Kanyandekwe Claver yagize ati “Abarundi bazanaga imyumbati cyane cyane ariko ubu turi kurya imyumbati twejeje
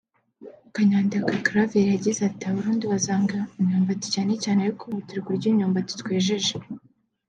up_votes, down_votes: 1, 2